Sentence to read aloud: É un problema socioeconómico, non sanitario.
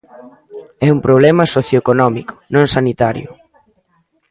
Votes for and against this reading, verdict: 2, 0, accepted